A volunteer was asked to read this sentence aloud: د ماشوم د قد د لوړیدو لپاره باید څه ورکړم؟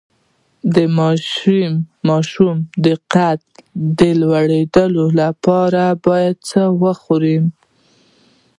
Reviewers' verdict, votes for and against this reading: rejected, 0, 2